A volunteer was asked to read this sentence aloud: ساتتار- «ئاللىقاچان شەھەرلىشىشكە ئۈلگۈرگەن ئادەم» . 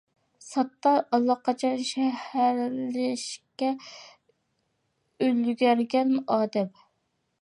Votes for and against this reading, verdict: 0, 2, rejected